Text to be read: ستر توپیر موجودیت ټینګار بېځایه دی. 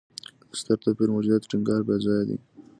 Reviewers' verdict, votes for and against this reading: accepted, 2, 0